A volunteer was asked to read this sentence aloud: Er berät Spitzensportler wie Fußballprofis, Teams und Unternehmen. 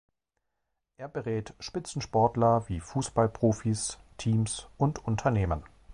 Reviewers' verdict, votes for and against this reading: accepted, 2, 0